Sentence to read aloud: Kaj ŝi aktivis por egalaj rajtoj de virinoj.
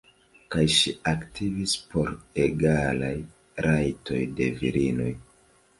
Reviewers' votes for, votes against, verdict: 1, 2, rejected